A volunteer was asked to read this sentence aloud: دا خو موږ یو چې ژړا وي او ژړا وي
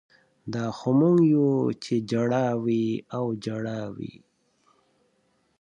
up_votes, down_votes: 6, 2